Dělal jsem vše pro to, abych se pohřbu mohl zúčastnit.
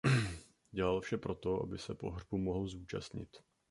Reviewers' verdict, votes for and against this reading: rejected, 0, 2